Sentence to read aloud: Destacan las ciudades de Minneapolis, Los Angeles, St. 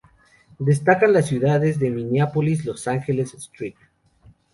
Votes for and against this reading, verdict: 2, 2, rejected